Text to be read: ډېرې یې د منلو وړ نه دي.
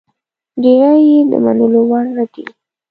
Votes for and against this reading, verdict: 1, 2, rejected